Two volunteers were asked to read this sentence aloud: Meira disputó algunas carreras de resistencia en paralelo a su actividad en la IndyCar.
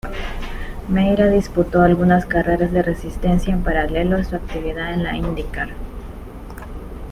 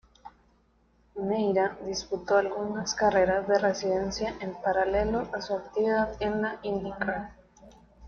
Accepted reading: first